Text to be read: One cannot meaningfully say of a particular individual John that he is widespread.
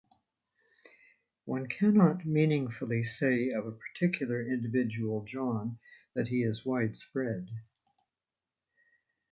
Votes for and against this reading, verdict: 2, 0, accepted